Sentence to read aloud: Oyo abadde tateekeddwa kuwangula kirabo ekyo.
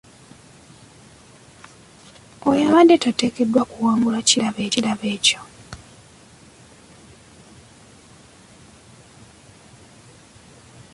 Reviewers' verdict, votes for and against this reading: rejected, 0, 2